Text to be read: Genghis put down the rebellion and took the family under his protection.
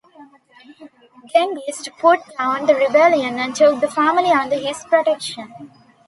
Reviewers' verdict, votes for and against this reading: accepted, 2, 1